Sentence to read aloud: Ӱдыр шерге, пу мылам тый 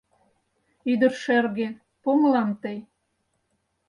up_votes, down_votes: 4, 0